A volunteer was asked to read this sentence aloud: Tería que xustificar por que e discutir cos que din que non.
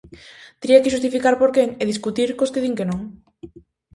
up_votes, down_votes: 4, 0